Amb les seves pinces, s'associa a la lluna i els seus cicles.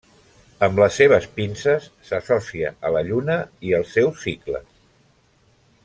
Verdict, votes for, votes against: rejected, 0, 2